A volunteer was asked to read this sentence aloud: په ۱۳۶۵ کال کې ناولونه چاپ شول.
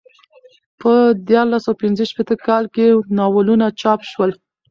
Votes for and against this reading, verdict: 0, 2, rejected